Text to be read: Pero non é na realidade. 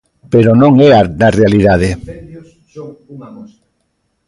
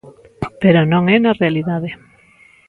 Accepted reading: second